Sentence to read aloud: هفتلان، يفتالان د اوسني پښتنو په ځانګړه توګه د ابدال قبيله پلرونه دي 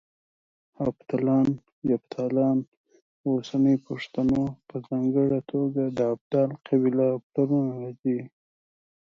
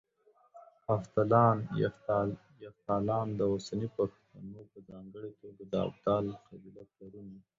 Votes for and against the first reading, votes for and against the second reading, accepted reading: 2, 0, 1, 2, first